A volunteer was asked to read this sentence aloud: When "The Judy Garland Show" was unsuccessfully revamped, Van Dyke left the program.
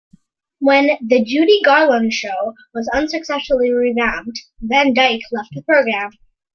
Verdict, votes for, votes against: accepted, 2, 1